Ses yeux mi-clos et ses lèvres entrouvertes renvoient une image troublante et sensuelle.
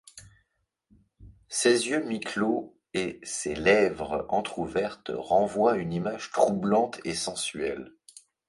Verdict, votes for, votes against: accepted, 2, 0